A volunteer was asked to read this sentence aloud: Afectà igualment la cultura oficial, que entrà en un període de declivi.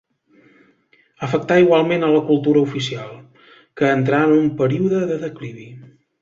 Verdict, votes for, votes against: rejected, 1, 2